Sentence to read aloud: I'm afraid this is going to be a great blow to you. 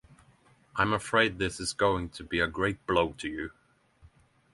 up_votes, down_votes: 9, 0